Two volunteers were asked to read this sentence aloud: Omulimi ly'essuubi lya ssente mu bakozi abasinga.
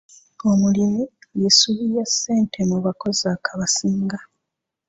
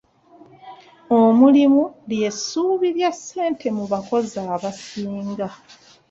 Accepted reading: first